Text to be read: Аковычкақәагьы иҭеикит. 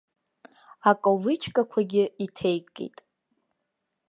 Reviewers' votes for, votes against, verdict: 3, 1, accepted